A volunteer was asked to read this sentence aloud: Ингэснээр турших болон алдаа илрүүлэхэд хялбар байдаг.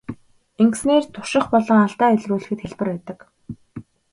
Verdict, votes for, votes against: accepted, 2, 0